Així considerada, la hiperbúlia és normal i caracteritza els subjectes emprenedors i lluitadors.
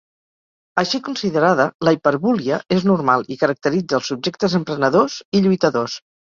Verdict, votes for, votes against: accepted, 4, 0